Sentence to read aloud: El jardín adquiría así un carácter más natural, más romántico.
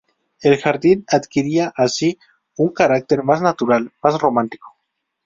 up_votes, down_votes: 4, 0